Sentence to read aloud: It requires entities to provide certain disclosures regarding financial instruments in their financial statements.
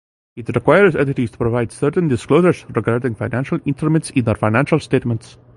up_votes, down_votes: 0, 2